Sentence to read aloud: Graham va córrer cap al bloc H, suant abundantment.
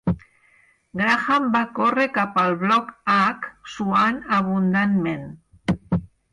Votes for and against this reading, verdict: 8, 2, accepted